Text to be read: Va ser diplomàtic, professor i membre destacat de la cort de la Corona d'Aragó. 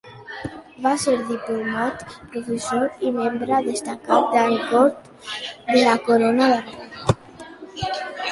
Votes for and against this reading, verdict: 1, 2, rejected